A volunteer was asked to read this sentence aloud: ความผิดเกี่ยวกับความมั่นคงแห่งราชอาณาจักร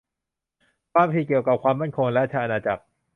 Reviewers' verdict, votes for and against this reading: rejected, 0, 2